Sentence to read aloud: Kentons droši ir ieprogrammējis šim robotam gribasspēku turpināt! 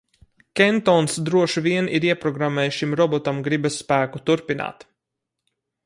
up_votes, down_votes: 0, 4